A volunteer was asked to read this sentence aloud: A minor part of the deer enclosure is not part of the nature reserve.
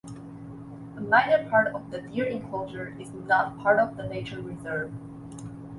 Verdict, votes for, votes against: accepted, 2, 0